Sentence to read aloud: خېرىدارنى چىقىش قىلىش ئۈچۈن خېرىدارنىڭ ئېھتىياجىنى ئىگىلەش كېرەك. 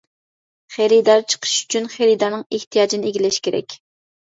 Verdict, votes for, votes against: rejected, 0, 2